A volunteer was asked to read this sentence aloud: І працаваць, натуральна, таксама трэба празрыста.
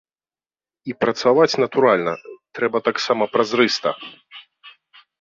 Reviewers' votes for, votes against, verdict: 1, 2, rejected